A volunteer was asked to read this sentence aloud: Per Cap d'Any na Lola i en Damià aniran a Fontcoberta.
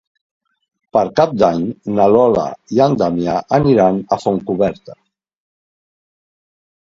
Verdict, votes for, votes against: rejected, 1, 2